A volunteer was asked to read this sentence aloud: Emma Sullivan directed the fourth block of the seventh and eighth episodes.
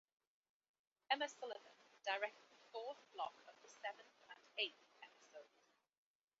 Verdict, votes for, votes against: rejected, 0, 2